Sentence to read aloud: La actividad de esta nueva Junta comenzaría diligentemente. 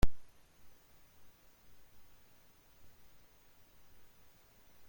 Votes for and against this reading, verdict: 0, 2, rejected